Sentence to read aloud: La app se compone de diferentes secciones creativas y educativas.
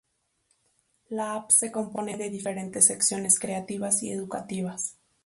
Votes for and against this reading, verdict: 2, 0, accepted